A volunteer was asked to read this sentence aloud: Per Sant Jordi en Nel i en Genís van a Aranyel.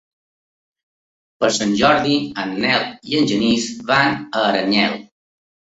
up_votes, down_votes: 3, 0